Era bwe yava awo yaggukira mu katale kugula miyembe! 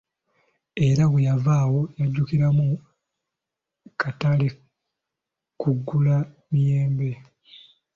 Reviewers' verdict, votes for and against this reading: rejected, 0, 2